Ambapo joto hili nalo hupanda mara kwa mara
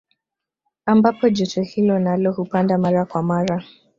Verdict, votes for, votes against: accepted, 2, 0